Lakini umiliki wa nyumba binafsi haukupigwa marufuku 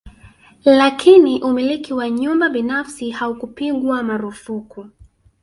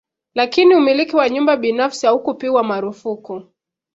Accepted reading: second